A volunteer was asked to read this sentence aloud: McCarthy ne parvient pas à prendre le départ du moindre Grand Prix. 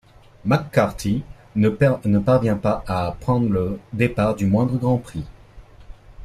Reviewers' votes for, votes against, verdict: 1, 2, rejected